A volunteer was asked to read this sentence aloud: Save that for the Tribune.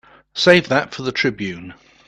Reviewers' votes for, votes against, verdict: 2, 0, accepted